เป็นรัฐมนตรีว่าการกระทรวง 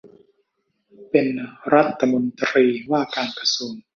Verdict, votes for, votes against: rejected, 1, 2